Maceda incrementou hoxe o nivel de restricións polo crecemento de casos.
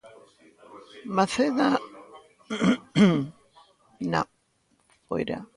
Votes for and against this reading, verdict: 0, 2, rejected